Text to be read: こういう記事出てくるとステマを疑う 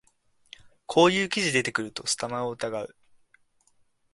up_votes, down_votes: 1, 2